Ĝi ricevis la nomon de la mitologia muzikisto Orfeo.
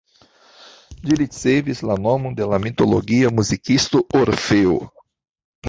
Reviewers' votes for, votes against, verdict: 0, 2, rejected